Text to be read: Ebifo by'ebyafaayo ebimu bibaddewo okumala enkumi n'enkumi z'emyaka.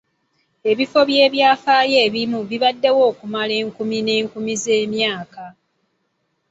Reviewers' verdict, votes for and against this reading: accepted, 2, 0